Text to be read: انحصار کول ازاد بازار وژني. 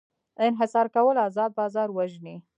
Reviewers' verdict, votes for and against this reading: rejected, 0, 2